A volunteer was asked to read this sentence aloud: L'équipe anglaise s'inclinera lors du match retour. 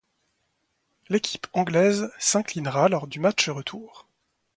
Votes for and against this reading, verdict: 2, 0, accepted